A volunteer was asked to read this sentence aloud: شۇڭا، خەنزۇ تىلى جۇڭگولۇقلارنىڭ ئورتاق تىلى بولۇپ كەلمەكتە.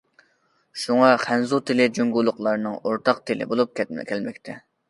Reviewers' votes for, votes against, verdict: 0, 2, rejected